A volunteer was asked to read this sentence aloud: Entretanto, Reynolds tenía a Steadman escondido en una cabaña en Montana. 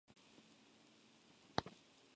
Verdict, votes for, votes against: rejected, 0, 4